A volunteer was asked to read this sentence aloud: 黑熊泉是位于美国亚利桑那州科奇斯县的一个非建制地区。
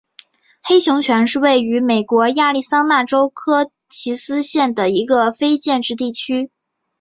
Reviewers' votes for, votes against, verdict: 1, 2, rejected